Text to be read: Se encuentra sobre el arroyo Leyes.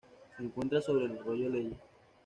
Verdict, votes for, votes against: accepted, 2, 0